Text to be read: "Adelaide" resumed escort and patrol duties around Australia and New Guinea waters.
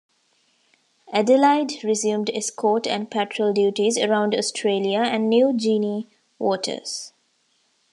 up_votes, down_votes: 0, 2